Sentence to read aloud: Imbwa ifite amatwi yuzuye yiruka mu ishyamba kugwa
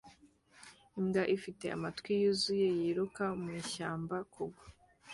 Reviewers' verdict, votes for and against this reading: accepted, 2, 0